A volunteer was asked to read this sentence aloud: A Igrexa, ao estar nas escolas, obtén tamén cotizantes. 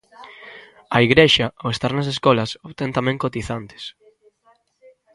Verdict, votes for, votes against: rejected, 1, 2